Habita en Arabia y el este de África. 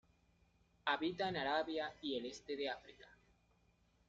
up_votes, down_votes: 0, 2